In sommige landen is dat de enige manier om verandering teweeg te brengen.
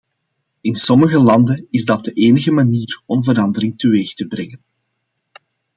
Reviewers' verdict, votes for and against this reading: accepted, 2, 0